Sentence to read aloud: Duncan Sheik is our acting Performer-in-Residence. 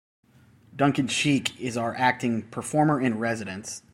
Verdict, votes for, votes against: rejected, 1, 2